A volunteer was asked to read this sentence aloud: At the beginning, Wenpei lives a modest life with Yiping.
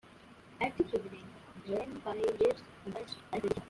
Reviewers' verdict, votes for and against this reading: accepted, 2, 1